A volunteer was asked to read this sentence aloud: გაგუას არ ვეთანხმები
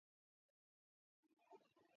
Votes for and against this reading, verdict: 2, 1, accepted